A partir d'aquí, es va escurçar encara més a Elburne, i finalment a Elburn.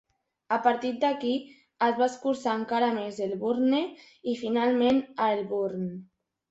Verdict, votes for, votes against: accepted, 3, 2